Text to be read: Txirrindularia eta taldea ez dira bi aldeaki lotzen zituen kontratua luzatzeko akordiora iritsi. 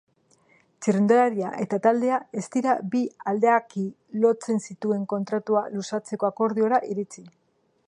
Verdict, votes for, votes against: accepted, 2, 0